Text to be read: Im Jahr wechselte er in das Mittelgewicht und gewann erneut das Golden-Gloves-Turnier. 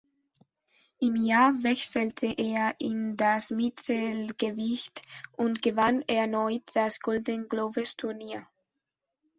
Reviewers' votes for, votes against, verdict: 1, 2, rejected